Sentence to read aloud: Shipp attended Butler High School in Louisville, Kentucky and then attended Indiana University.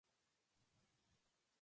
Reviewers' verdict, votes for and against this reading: rejected, 0, 4